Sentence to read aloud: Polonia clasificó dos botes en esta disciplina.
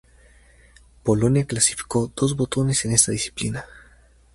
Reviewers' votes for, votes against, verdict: 0, 2, rejected